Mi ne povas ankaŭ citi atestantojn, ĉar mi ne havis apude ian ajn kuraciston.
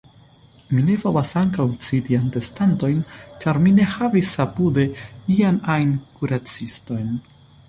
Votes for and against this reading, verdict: 2, 0, accepted